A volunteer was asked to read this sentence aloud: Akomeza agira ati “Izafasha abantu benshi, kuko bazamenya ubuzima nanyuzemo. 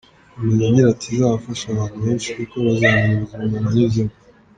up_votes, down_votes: 1, 2